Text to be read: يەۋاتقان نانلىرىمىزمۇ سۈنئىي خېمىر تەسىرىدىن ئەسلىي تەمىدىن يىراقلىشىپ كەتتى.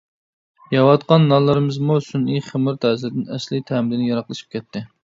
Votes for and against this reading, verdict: 2, 0, accepted